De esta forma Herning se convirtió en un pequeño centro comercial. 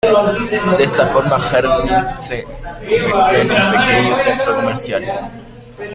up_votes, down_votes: 0, 2